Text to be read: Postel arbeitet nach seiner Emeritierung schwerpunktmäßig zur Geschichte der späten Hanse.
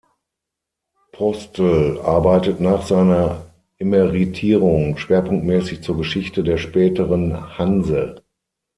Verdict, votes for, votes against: rejected, 3, 6